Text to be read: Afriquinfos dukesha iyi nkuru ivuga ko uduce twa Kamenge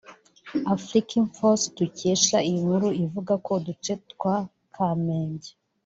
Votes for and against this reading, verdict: 2, 1, accepted